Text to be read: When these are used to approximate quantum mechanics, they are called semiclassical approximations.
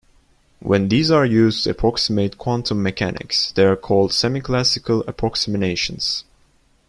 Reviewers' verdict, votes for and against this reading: rejected, 1, 2